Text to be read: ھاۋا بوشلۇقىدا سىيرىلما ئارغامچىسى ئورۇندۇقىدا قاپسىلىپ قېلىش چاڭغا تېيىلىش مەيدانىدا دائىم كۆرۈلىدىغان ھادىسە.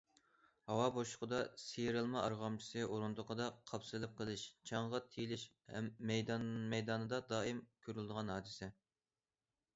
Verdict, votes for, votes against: rejected, 0, 2